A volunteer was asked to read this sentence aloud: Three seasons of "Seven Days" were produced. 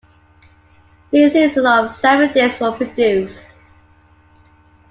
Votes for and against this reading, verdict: 2, 1, accepted